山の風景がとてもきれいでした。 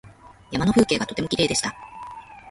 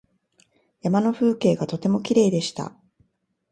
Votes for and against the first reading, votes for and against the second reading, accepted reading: 0, 2, 2, 0, second